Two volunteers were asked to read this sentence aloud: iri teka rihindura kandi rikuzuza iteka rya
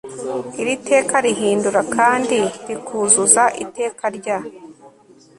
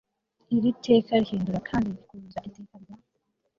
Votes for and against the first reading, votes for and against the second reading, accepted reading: 3, 0, 1, 2, first